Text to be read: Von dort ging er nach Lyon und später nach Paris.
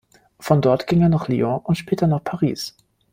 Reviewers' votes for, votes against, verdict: 1, 2, rejected